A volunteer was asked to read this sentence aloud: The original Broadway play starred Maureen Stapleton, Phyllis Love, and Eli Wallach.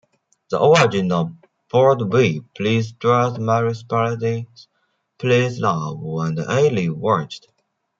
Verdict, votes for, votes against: rejected, 0, 2